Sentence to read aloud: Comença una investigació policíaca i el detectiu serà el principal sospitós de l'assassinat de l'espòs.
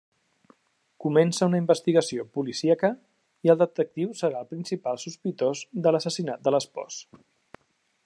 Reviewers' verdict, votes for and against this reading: accepted, 2, 0